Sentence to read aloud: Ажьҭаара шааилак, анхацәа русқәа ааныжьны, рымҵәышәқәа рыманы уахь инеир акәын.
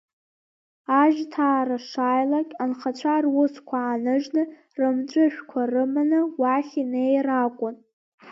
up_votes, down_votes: 2, 1